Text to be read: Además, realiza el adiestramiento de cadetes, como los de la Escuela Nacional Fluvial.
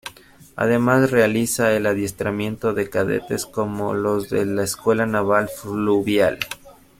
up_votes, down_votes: 1, 2